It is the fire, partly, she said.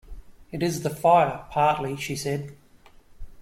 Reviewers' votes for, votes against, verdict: 2, 0, accepted